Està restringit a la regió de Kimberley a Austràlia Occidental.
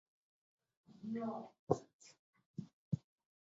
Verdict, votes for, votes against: rejected, 0, 2